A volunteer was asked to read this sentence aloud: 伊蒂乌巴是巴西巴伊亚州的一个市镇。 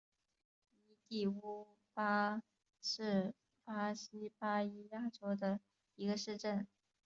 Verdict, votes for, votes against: rejected, 1, 2